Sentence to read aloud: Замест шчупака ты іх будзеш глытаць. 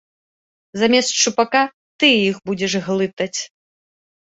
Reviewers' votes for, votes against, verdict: 2, 0, accepted